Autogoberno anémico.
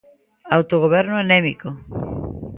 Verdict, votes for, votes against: rejected, 1, 2